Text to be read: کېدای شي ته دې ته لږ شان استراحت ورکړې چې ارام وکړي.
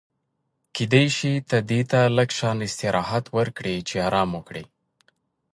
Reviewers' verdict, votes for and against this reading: accepted, 2, 0